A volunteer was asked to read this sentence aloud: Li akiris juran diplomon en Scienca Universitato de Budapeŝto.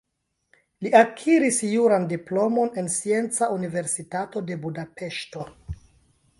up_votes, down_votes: 0, 2